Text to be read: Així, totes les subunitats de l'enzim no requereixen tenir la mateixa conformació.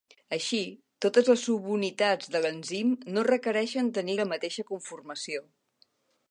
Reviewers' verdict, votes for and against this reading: accepted, 2, 0